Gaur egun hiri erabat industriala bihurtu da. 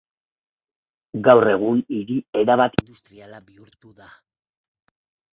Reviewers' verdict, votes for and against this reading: rejected, 0, 2